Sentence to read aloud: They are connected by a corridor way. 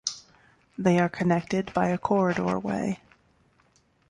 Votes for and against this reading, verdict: 2, 0, accepted